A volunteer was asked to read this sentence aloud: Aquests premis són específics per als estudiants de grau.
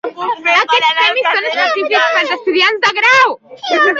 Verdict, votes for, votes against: rejected, 1, 2